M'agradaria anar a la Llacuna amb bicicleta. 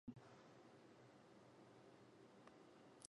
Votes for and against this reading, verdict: 0, 3, rejected